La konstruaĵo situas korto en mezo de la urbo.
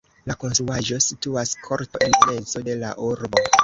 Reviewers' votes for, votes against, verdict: 1, 2, rejected